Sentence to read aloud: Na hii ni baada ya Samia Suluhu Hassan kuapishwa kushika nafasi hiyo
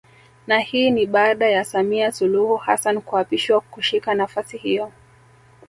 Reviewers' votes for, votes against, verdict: 1, 2, rejected